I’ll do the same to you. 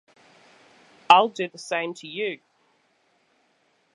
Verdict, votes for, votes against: accepted, 2, 1